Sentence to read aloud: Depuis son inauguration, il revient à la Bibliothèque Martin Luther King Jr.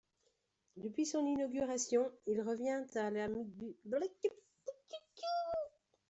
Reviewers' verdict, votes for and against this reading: rejected, 0, 2